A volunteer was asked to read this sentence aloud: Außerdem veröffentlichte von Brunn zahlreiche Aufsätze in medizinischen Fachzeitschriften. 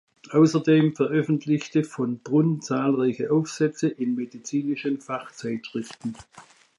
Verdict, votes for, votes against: accepted, 2, 0